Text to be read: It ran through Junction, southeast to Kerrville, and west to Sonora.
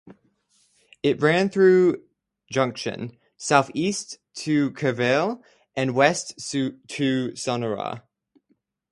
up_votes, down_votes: 0, 2